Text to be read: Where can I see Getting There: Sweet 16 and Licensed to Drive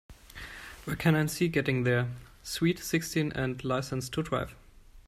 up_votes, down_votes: 0, 2